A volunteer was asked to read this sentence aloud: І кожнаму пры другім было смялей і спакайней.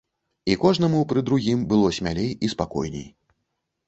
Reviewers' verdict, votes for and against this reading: rejected, 1, 2